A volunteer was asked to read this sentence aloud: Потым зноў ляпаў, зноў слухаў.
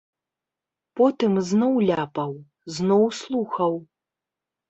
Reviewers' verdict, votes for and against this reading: accepted, 2, 0